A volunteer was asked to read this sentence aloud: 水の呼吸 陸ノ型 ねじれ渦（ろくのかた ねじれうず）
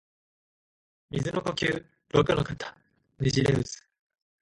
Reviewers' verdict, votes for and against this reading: accepted, 5, 2